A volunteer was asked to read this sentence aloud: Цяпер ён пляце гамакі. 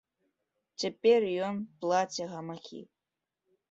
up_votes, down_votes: 1, 2